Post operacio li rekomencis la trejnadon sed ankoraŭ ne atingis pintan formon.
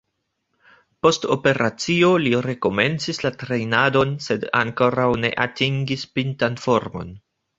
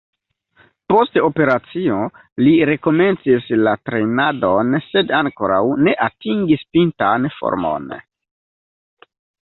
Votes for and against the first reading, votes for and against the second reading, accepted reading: 2, 1, 1, 2, first